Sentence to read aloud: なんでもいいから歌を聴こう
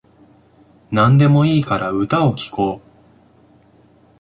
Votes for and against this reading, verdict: 2, 0, accepted